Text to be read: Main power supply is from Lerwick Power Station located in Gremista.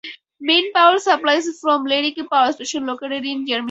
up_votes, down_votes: 4, 2